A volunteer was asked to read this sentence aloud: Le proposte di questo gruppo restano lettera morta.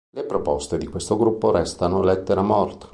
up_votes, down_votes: 2, 0